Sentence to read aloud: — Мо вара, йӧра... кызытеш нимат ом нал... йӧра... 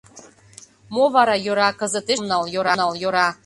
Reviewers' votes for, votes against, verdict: 0, 2, rejected